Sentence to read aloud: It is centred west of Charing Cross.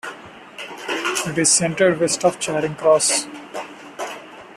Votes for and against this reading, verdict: 0, 2, rejected